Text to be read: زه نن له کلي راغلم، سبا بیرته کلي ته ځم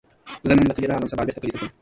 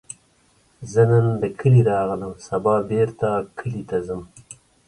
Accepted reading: second